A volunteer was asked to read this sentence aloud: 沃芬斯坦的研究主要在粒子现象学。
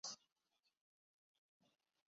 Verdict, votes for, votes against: rejected, 0, 5